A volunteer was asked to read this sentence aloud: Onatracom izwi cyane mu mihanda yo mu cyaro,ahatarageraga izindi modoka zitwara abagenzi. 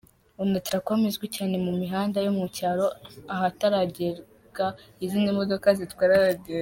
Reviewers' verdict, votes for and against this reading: rejected, 1, 2